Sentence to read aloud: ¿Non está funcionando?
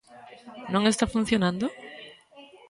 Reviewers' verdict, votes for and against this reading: rejected, 1, 2